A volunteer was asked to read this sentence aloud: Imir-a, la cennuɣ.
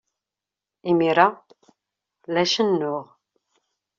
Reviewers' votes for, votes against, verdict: 2, 0, accepted